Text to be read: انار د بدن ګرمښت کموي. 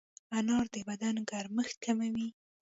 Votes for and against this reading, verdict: 2, 1, accepted